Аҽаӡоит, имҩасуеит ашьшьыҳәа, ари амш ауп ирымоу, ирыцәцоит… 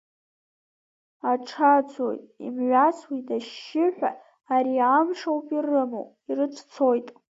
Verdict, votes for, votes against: rejected, 0, 2